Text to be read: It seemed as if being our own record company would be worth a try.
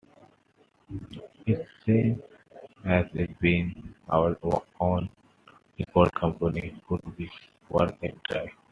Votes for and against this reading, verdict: 1, 2, rejected